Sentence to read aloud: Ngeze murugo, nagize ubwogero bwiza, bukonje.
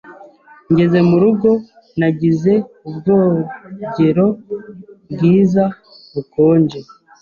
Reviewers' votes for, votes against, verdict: 2, 0, accepted